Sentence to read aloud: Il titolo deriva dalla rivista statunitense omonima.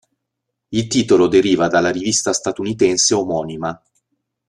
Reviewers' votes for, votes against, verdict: 2, 0, accepted